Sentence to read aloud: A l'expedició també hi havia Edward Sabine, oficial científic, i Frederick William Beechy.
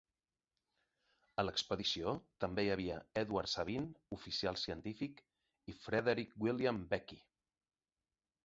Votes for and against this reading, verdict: 3, 0, accepted